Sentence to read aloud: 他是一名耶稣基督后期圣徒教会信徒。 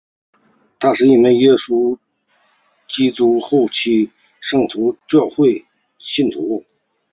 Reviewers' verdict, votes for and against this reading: accepted, 2, 0